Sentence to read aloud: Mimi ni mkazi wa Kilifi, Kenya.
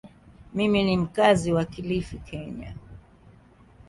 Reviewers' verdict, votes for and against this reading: accepted, 2, 1